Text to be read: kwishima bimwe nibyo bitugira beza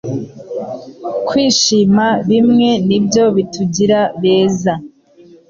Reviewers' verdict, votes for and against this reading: accepted, 3, 0